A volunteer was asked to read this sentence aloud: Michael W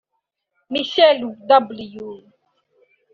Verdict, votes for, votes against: accepted, 3, 2